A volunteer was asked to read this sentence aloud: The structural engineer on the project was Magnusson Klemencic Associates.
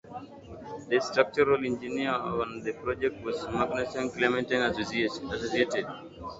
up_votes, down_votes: 0, 2